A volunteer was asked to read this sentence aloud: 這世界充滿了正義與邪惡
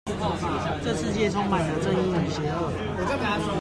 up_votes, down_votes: 2, 0